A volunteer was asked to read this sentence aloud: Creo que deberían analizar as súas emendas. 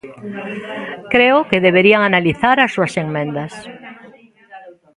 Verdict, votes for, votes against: rejected, 0, 2